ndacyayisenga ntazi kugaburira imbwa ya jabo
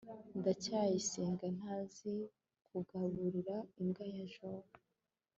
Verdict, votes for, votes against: accepted, 2, 0